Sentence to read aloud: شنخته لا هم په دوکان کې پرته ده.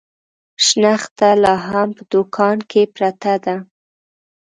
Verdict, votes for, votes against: accepted, 2, 0